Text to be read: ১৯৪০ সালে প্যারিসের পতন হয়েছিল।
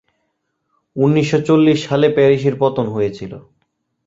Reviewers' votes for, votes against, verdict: 0, 2, rejected